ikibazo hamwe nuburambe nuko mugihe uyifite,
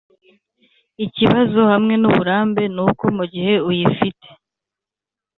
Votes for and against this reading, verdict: 4, 0, accepted